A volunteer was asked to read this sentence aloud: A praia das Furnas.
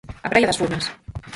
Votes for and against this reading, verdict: 0, 4, rejected